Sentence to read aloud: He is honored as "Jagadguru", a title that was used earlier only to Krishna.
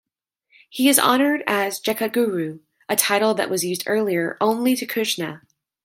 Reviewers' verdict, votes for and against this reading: rejected, 0, 2